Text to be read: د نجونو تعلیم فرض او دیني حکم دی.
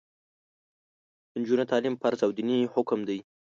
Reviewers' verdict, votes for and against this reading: accepted, 2, 0